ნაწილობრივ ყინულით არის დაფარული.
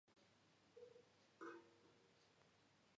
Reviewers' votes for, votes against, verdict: 0, 2, rejected